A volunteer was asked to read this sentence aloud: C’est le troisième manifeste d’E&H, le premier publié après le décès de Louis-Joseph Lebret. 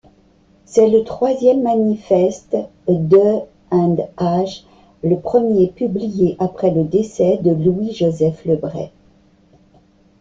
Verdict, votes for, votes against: rejected, 1, 2